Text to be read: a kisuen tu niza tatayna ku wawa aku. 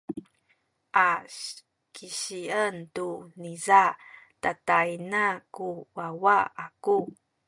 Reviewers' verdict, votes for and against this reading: rejected, 1, 2